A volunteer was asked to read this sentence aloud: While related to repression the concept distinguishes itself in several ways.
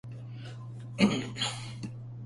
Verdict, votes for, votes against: rejected, 0, 2